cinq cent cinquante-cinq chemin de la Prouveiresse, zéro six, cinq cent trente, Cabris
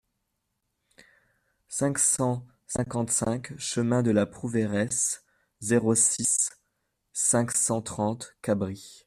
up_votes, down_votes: 2, 0